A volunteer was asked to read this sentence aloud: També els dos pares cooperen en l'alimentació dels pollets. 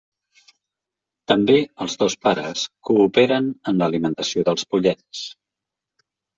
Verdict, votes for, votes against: accepted, 2, 0